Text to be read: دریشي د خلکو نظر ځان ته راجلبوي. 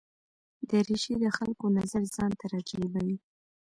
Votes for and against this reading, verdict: 0, 2, rejected